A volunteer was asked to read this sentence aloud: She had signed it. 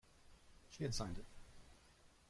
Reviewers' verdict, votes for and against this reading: rejected, 1, 2